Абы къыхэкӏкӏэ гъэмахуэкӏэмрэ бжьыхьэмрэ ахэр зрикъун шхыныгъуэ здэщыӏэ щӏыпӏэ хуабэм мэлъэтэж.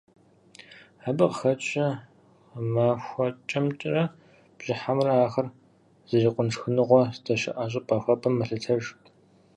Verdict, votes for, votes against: rejected, 2, 4